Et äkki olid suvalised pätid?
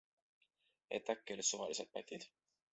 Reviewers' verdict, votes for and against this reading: accepted, 2, 0